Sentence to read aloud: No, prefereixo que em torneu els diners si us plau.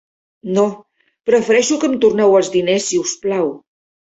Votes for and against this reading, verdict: 3, 1, accepted